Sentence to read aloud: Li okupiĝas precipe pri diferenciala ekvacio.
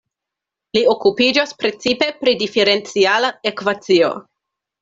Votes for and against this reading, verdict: 2, 0, accepted